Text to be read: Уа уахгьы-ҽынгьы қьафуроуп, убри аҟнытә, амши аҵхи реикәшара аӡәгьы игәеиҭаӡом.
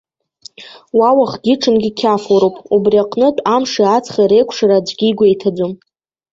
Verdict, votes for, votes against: rejected, 1, 2